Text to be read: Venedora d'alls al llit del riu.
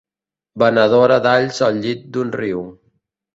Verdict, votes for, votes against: accepted, 2, 0